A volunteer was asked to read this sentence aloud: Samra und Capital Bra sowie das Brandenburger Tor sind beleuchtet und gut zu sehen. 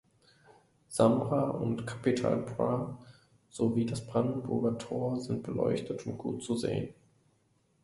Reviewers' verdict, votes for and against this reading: accepted, 3, 0